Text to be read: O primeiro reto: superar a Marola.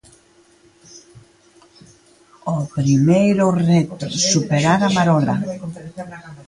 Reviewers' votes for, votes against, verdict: 1, 2, rejected